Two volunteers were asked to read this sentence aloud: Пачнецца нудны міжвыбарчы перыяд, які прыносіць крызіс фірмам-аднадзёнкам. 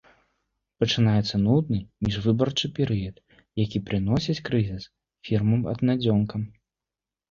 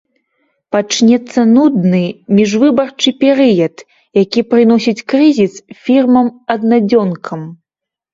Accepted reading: second